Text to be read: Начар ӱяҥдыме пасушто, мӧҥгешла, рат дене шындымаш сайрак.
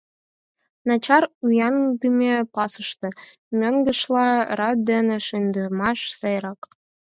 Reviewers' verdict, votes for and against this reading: rejected, 2, 4